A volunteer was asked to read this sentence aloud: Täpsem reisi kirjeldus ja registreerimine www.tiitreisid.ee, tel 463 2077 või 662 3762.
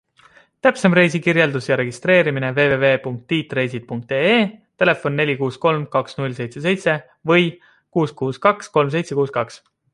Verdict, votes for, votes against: rejected, 0, 2